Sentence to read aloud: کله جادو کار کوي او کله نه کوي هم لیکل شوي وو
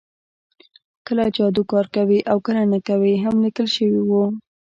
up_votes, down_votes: 2, 0